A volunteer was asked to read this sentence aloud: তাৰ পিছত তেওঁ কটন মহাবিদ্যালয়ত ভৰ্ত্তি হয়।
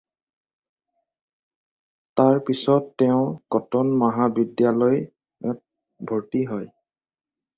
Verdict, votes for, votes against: rejected, 2, 2